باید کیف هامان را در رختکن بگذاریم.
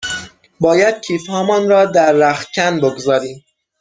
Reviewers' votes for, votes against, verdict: 6, 0, accepted